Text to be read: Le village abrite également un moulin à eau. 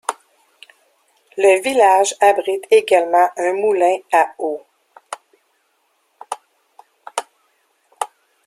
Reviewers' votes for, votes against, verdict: 1, 2, rejected